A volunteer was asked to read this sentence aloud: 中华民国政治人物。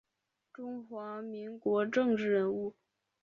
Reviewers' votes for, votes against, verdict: 2, 0, accepted